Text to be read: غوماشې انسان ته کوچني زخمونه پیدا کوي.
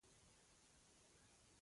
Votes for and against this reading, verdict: 0, 2, rejected